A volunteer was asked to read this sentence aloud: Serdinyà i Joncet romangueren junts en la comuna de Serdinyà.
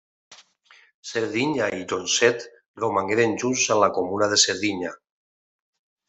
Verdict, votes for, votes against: rejected, 1, 2